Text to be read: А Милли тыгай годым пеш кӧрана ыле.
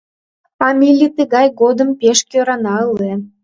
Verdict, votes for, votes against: accepted, 2, 0